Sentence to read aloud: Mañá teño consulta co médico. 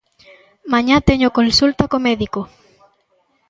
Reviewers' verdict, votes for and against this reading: accepted, 2, 0